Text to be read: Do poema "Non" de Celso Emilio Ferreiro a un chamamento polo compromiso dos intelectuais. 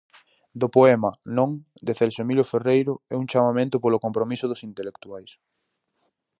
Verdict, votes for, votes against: rejected, 0, 4